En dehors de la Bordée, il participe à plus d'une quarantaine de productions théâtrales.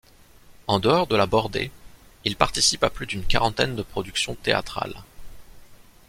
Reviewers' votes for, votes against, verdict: 2, 0, accepted